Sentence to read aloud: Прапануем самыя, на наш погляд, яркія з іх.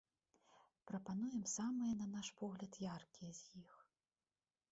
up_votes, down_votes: 1, 2